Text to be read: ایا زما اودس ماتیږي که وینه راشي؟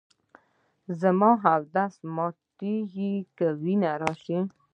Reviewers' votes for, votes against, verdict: 0, 2, rejected